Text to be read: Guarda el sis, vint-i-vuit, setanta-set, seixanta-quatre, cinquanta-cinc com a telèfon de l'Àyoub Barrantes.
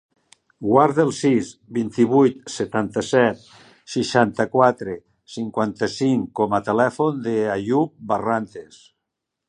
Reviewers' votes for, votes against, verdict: 2, 0, accepted